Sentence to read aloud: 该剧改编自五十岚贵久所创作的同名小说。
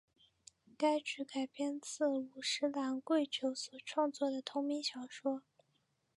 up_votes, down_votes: 3, 0